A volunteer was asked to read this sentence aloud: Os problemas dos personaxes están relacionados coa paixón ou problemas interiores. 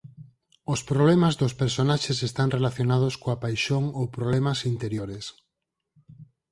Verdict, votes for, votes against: accepted, 4, 0